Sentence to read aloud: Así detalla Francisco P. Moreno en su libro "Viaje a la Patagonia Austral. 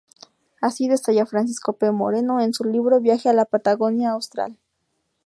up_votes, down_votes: 0, 2